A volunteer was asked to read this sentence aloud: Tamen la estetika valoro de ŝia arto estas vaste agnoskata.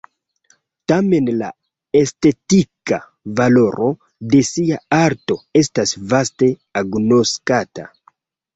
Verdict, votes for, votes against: accepted, 2, 0